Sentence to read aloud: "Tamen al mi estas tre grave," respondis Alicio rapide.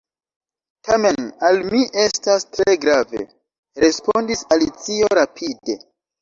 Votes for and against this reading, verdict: 2, 0, accepted